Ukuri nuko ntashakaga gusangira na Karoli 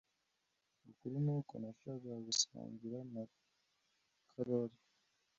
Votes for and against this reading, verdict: 1, 2, rejected